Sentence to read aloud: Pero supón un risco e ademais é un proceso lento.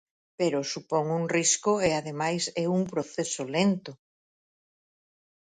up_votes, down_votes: 4, 0